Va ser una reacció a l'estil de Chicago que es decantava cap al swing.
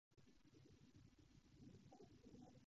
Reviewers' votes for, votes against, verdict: 0, 2, rejected